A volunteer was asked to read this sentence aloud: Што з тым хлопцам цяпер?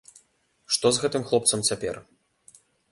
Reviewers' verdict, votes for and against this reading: rejected, 0, 2